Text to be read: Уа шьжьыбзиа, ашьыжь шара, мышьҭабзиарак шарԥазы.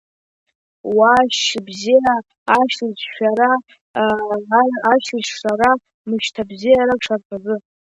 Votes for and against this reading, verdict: 0, 2, rejected